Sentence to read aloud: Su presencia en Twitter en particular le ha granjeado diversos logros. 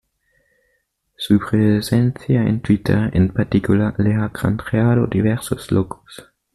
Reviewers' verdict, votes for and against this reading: rejected, 1, 2